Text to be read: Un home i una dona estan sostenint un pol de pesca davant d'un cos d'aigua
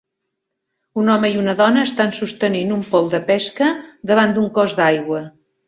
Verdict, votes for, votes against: rejected, 0, 2